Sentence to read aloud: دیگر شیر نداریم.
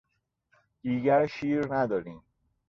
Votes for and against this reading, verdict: 2, 0, accepted